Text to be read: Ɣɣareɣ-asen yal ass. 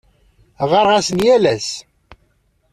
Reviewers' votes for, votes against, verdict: 2, 0, accepted